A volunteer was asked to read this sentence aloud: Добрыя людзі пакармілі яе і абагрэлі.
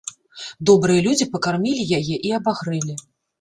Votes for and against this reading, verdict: 2, 0, accepted